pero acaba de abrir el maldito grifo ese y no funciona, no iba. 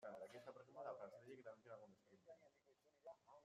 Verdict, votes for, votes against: rejected, 0, 2